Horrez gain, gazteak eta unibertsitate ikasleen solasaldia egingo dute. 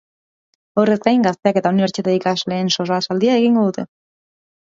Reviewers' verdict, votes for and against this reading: accepted, 2, 0